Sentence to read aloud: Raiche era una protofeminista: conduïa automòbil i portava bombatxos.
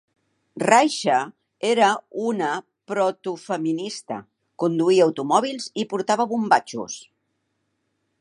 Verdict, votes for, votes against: accepted, 2, 0